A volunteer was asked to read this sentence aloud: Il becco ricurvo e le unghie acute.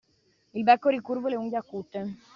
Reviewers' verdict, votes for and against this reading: accepted, 2, 0